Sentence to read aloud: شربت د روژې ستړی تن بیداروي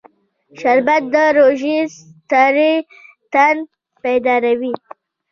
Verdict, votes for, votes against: rejected, 0, 2